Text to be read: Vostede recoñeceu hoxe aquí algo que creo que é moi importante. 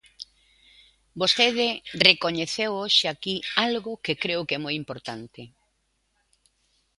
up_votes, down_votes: 2, 0